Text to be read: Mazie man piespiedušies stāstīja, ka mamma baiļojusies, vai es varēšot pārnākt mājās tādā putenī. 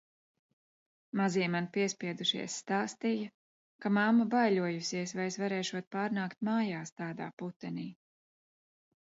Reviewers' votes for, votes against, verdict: 2, 0, accepted